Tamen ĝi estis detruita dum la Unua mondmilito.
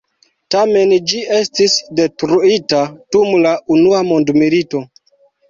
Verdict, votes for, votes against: rejected, 1, 2